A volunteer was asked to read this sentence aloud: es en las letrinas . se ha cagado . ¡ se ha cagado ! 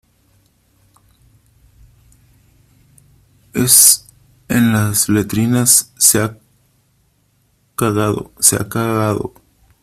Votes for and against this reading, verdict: 2, 1, accepted